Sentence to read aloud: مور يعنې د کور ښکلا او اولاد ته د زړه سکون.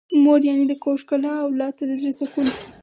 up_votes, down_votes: 4, 2